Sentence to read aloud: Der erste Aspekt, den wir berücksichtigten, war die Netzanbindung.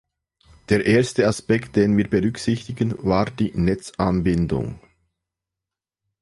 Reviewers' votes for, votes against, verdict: 0, 2, rejected